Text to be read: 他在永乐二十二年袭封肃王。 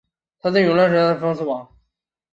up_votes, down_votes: 0, 3